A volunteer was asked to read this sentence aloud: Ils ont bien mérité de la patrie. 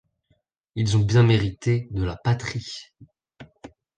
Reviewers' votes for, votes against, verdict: 2, 0, accepted